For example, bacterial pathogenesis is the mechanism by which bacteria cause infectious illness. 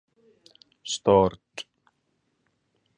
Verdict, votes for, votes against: rejected, 0, 2